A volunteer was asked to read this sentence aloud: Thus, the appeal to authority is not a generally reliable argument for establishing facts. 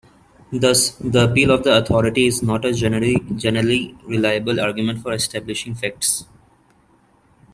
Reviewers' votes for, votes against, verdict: 0, 2, rejected